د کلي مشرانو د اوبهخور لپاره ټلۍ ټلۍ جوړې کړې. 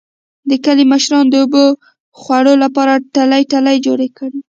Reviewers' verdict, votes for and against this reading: rejected, 0, 2